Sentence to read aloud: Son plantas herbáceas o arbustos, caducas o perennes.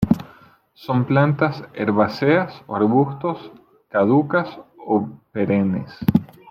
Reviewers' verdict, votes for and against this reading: rejected, 1, 2